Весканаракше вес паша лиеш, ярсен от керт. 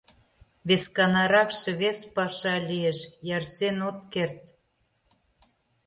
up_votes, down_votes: 2, 0